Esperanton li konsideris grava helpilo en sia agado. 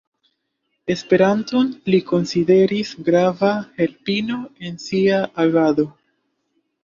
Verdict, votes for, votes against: rejected, 1, 2